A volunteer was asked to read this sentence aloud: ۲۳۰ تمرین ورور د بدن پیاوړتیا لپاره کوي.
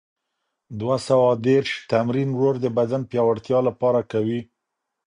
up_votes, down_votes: 0, 2